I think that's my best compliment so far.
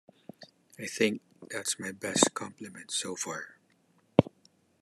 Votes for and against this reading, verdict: 2, 0, accepted